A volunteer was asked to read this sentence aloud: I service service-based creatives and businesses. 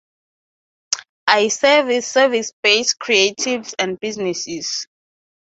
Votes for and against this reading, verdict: 0, 2, rejected